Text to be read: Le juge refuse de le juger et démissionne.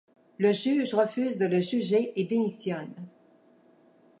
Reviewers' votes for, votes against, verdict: 2, 0, accepted